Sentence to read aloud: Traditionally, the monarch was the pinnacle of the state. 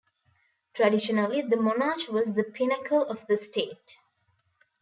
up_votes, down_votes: 2, 0